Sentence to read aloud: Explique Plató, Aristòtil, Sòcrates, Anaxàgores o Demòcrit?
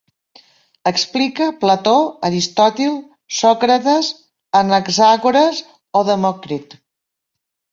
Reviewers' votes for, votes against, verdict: 2, 0, accepted